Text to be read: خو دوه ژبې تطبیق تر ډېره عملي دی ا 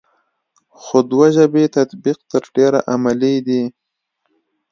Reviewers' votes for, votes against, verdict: 2, 0, accepted